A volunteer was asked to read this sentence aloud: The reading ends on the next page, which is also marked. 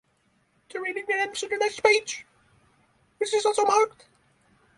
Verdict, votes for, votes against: rejected, 0, 3